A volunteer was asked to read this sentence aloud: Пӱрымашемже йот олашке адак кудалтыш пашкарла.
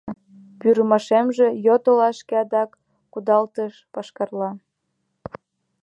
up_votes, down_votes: 2, 1